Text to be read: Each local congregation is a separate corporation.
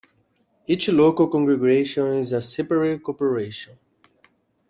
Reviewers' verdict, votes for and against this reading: accepted, 2, 1